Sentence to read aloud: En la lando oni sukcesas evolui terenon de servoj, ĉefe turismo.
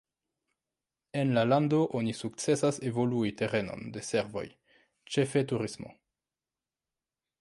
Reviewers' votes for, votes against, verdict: 2, 1, accepted